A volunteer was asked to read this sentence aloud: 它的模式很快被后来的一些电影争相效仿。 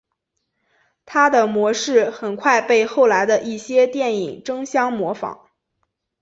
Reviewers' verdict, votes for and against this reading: accepted, 3, 0